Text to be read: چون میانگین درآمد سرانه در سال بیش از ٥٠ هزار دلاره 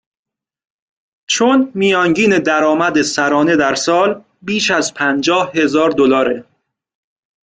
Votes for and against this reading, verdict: 0, 2, rejected